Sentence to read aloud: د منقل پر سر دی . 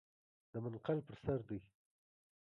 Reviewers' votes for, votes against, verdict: 3, 0, accepted